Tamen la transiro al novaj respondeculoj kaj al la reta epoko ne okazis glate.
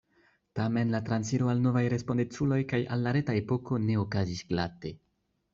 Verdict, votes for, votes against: accepted, 2, 0